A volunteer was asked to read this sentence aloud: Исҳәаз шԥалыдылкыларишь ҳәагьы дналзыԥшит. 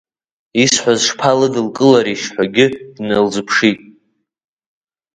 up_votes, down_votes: 2, 0